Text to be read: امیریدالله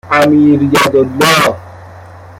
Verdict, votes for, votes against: rejected, 0, 2